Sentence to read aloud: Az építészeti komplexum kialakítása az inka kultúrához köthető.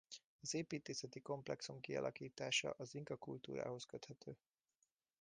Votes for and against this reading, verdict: 1, 2, rejected